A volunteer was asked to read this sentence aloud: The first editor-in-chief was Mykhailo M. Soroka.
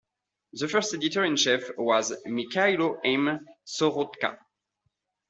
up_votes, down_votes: 2, 0